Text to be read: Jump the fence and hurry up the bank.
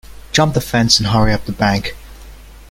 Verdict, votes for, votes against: accepted, 2, 0